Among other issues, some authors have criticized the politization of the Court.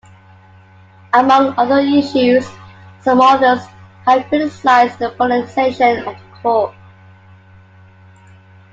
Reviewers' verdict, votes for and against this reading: accepted, 2, 1